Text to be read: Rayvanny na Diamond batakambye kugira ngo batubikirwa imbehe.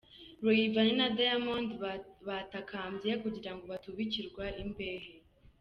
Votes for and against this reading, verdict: 0, 2, rejected